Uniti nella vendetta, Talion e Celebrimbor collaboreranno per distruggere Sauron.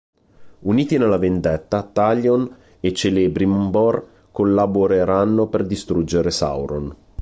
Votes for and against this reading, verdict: 3, 1, accepted